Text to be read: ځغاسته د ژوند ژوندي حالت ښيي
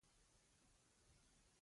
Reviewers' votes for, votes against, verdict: 0, 2, rejected